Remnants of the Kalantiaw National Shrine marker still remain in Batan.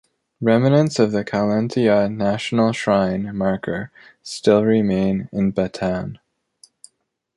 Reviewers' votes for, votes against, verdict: 3, 1, accepted